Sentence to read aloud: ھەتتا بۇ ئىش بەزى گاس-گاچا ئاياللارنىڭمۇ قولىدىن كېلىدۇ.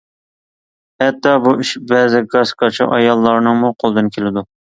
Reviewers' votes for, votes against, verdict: 2, 0, accepted